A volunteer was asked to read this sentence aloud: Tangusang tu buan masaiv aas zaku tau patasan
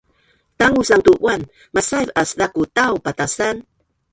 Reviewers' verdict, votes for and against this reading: rejected, 2, 3